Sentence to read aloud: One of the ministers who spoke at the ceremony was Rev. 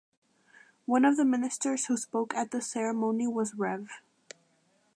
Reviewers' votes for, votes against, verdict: 2, 0, accepted